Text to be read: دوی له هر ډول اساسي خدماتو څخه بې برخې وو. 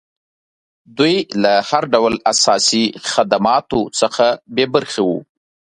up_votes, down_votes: 2, 0